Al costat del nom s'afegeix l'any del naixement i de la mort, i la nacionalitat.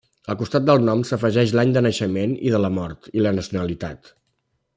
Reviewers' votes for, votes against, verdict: 0, 2, rejected